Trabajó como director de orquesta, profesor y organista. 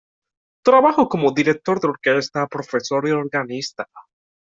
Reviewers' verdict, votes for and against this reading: rejected, 0, 2